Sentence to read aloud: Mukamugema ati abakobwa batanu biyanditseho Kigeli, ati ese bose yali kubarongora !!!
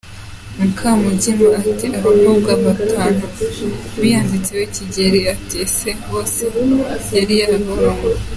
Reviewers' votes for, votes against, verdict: 0, 2, rejected